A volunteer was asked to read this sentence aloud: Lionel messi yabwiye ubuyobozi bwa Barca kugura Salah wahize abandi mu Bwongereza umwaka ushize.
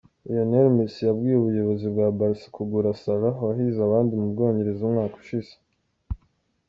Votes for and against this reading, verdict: 2, 0, accepted